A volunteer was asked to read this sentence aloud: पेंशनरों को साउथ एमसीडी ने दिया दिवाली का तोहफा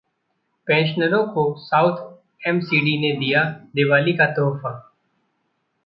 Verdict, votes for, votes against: accepted, 2, 1